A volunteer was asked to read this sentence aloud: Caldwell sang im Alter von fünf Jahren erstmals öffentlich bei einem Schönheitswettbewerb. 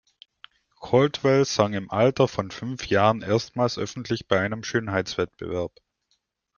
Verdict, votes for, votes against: accepted, 2, 0